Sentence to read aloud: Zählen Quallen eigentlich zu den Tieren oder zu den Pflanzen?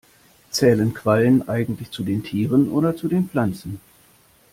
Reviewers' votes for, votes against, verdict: 2, 0, accepted